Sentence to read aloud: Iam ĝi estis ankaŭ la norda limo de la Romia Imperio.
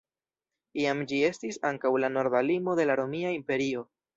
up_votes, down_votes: 0, 2